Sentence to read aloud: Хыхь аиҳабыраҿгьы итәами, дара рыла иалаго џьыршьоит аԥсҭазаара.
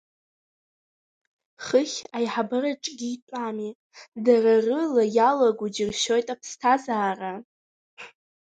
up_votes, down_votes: 0, 2